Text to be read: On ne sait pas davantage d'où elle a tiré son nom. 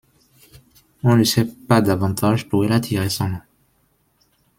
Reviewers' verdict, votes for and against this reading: rejected, 1, 2